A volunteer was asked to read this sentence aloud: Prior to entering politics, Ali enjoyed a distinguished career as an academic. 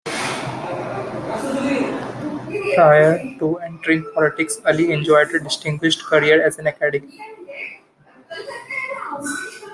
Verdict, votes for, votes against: accepted, 2, 1